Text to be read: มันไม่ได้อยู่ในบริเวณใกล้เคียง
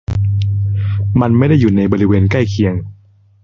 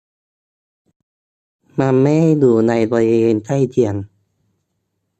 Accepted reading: first